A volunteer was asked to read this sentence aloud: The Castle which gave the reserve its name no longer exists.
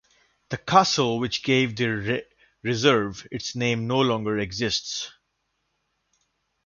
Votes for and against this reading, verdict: 0, 2, rejected